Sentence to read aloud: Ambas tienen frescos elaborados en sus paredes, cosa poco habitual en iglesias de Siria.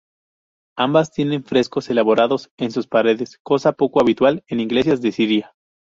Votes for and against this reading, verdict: 2, 0, accepted